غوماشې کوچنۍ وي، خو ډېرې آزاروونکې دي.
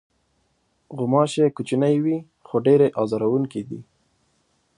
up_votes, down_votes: 2, 0